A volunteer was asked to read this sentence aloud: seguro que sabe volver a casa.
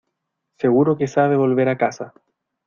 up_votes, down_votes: 2, 0